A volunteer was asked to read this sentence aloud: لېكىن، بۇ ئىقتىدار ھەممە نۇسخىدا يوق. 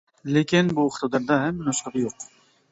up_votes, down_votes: 0, 2